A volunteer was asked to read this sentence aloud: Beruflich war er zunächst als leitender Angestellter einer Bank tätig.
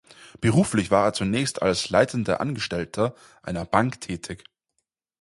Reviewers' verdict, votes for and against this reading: accepted, 4, 0